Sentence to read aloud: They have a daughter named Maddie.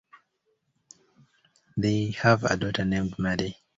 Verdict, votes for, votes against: accepted, 2, 0